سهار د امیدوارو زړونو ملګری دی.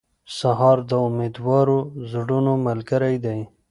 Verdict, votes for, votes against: accepted, 3, 0